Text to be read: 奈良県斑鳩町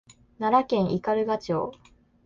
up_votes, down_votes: 2, 0